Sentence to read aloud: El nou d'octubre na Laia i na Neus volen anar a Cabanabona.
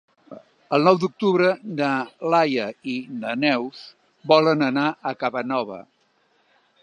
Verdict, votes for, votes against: rejected, 0, 2